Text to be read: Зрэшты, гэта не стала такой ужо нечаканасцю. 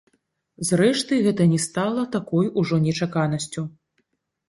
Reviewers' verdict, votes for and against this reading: rejected, 0, 2